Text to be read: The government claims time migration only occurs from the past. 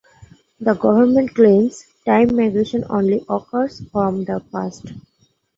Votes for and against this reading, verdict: 2, 1, accepted